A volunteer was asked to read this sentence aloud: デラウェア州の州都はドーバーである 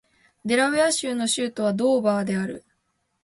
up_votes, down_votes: 1, 2